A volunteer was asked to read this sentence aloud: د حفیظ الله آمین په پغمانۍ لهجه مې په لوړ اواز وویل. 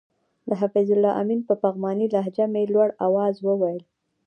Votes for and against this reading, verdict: 1, 2, rejected